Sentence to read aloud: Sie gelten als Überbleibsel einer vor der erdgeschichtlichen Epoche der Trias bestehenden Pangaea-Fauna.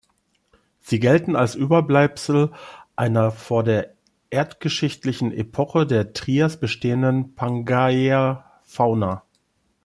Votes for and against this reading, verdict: 1, 2, rejected